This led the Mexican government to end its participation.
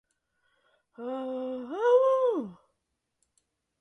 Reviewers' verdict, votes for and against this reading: rejected, 0, 2